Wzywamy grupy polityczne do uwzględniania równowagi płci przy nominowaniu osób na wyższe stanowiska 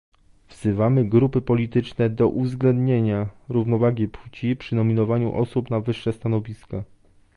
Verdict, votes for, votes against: rejected, 1, 2